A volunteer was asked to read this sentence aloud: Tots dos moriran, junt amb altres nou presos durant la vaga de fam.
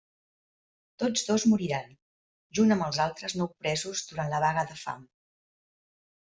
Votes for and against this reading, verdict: 1, 2, rejected